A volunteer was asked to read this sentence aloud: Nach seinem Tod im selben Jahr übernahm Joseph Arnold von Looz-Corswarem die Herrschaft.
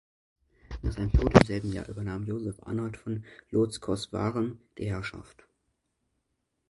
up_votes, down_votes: 0, 2